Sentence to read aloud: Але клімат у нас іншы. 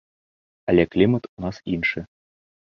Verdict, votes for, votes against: accepted, 2, 0